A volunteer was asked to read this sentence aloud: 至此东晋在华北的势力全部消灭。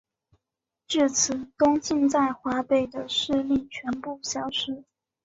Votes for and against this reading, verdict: 2, 3, rejected